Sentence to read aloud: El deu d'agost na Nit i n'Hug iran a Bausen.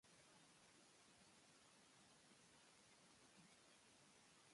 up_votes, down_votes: 0, 3